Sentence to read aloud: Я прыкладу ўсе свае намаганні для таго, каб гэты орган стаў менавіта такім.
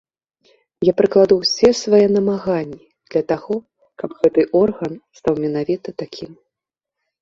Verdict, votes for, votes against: accepted, 2, 0